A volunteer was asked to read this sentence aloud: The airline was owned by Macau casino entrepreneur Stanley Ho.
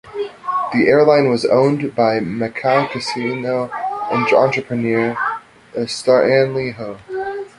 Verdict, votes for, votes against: rejected, 1, 2